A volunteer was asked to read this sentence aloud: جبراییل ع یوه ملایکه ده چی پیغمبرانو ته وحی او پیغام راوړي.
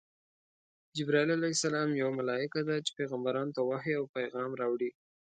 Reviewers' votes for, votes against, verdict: 2, 0, accepted